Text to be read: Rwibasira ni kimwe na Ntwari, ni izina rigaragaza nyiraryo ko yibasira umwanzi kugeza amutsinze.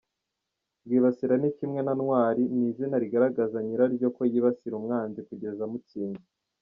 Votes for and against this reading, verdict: 1, 2, rejected